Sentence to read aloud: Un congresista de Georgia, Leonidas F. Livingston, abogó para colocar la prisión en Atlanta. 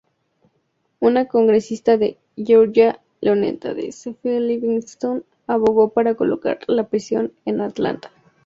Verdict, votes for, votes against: rejected, 0, 2